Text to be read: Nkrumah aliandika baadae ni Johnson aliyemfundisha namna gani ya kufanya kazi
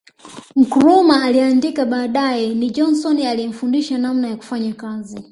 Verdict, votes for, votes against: rejected, 2, 3